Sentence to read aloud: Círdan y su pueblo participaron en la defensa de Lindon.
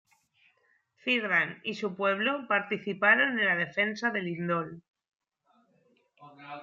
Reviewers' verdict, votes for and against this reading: rejected, 0, 2